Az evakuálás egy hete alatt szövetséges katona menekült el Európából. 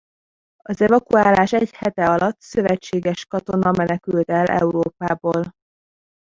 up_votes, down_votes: 1, 2